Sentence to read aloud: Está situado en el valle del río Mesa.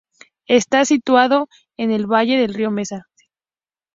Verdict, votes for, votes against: accepted, 2, 0